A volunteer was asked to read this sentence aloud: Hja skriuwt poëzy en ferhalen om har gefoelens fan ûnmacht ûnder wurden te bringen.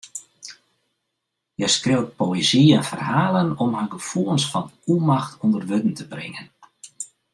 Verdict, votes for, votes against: accepted, 2, 0